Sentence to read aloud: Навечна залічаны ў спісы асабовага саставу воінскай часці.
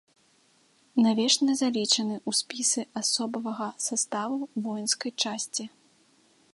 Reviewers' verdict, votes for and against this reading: rejected, 0, 3